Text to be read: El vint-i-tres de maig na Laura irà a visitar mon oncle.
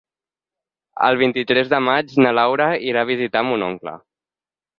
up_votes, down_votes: 10, 0